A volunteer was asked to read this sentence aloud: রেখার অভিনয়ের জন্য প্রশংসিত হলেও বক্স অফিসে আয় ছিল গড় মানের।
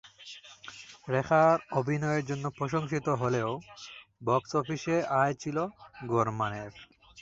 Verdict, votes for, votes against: accepted, 5, 2